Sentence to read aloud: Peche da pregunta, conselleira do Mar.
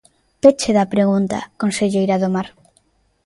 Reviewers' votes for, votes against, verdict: 2, 0, accepted